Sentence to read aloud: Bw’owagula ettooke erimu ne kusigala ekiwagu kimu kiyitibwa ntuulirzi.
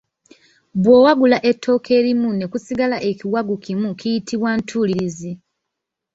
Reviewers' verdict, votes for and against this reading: accepted, 2, 0